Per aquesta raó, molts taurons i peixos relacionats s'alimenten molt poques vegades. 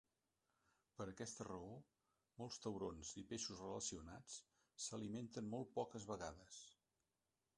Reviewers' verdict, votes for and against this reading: rejected, 1, 2